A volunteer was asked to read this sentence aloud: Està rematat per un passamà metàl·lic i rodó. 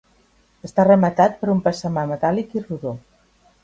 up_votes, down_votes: 4, 0